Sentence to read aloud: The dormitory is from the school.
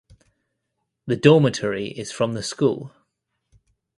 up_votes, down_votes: 2, 0